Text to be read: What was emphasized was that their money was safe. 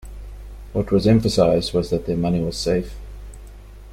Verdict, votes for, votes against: accepted, 2, 0